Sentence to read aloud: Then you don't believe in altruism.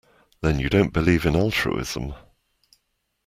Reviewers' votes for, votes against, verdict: 2, 0, accepted